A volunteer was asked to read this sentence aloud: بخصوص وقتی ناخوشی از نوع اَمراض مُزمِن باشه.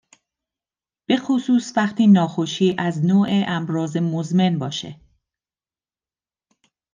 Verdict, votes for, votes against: accepted, 2, 0